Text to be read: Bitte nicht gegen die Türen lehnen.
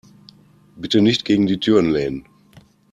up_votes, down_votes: 2, 0